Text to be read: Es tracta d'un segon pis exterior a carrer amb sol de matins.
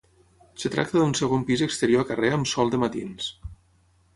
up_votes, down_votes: 3, 3